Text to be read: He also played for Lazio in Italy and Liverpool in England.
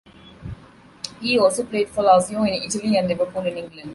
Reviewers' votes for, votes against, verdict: 1, 2, rejected